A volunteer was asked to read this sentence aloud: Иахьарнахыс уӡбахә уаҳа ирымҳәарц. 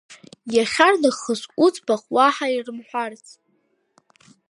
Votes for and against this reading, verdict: 2, 0, accepted